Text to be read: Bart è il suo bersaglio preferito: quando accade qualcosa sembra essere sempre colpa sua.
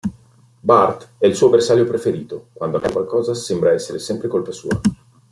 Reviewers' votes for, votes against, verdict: 2, 1, accepted